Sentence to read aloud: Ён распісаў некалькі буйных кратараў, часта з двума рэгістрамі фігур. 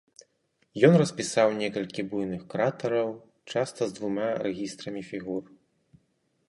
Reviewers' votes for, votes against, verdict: 2, 2, rejected